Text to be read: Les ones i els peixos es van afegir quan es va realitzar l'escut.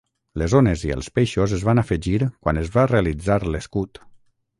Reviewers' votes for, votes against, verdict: 6, 0, accepted